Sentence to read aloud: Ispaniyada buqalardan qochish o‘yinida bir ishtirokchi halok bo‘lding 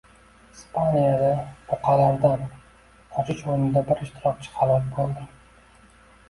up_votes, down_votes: 2, 0